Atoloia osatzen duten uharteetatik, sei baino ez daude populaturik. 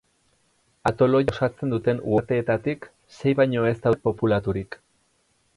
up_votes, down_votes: 2, 4